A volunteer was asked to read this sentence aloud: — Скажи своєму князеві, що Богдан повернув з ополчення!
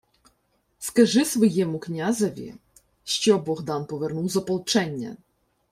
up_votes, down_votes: 2, 0